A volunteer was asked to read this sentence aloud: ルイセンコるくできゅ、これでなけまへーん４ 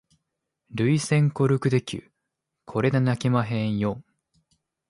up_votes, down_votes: 0, 2